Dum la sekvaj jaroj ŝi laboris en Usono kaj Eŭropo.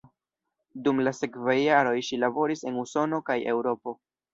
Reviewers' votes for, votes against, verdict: 1, 2, rejected